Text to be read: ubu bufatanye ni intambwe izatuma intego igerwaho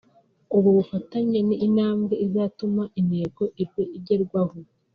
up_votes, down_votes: 1, 2